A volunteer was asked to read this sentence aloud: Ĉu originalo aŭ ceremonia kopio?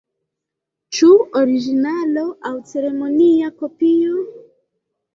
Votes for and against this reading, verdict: 1, 2, rejected